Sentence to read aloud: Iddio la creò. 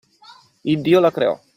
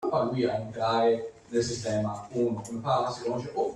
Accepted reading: first